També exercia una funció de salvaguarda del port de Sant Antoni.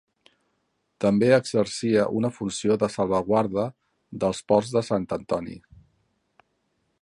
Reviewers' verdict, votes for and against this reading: accepted, 2, 1